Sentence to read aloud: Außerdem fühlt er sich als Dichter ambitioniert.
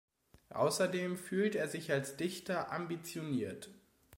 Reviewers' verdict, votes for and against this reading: accepted, 2, 0